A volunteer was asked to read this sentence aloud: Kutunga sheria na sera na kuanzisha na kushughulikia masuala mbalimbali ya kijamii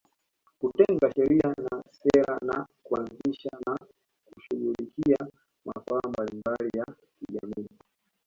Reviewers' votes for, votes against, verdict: 1, 2, rejected